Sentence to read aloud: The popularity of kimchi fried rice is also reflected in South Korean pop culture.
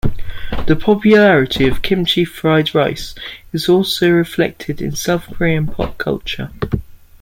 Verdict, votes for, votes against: accepted, 2, 0